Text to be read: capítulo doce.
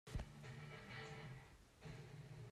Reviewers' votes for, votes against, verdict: 0, 2, rejected